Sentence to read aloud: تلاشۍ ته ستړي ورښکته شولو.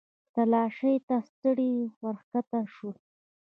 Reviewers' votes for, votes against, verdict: 2, 0, accepted